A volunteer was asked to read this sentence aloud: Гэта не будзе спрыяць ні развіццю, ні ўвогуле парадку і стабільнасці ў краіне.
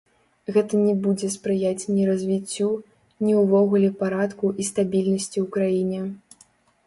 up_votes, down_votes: 1, 2